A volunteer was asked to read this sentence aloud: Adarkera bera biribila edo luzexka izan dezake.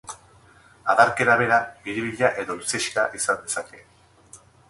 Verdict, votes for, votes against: rejected, 2, 2